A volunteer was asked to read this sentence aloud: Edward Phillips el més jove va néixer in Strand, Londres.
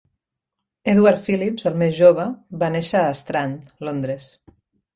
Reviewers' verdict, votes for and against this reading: rejected, 0, 2